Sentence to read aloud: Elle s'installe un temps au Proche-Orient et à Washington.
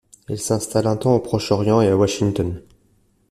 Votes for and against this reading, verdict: 2, 0, accepted